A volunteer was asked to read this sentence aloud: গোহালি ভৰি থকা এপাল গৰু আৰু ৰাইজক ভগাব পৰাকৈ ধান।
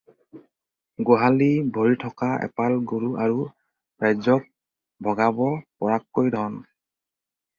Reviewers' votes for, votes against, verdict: 2, 4, rejected